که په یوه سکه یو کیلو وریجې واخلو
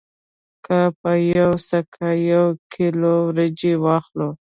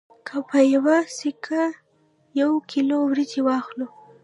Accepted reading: first